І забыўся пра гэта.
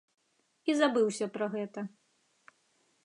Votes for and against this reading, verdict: 2, 0, accepted